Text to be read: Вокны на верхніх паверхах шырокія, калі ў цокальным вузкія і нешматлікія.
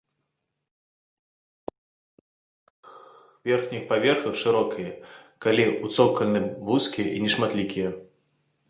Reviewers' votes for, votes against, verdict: 0, 2, rejected